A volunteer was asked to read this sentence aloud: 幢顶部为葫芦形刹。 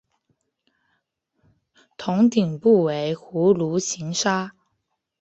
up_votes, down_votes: 1, 2